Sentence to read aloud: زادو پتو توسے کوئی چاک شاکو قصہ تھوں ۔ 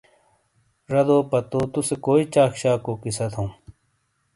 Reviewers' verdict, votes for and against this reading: accepted, 2, 0